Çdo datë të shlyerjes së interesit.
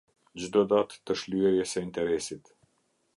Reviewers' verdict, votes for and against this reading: accepted, 2, 0